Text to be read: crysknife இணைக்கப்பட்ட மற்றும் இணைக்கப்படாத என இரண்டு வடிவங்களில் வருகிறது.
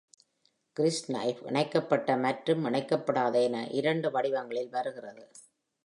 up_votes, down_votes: 2, 0